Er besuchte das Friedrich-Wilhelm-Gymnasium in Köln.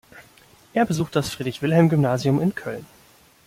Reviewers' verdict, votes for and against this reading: rejected, 1, 2